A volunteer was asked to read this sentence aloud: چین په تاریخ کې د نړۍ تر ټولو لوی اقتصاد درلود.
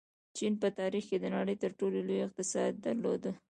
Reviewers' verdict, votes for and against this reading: rejected, 1, 2